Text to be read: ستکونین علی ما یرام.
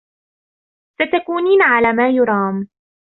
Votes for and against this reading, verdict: 2, 1, accepted